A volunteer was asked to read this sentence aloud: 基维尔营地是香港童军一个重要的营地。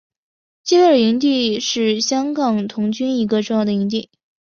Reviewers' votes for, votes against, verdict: 4, 0, accepted